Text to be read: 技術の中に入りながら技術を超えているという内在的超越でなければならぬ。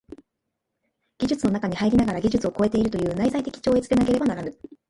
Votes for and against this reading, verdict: 1, 2, rejected